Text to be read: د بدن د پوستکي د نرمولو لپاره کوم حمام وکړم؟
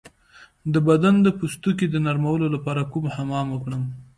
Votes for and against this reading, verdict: 2, 0, accepted